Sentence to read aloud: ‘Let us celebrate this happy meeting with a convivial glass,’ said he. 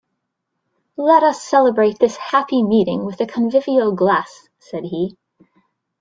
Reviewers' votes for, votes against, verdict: 2, 0, accepted